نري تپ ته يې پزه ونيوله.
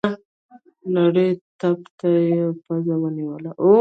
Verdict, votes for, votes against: rejected, 1, 2